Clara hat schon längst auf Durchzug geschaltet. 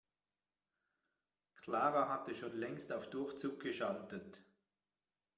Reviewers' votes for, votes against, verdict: 1, 2, rejected